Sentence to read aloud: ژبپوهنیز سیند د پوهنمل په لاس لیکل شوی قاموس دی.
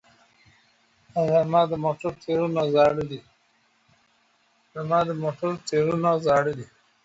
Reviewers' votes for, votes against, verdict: 0, 2, rejected